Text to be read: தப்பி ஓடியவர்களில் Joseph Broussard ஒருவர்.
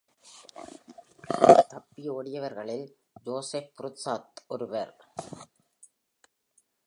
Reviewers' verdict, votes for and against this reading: rejected, 0, 2